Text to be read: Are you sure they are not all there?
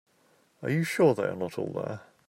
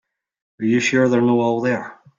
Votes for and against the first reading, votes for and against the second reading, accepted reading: 2, 0, 1, 3, first